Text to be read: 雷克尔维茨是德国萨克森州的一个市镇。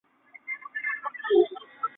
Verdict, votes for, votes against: rejected, 1, 2